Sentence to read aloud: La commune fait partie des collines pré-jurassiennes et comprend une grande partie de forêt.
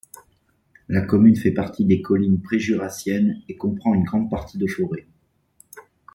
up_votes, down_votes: 2, 1